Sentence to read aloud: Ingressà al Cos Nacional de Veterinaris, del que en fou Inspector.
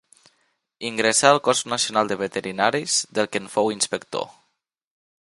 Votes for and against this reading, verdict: 4, 0, accepted